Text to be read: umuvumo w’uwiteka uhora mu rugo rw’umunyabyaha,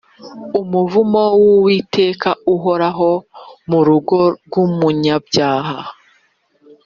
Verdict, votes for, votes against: rejected, 2, 3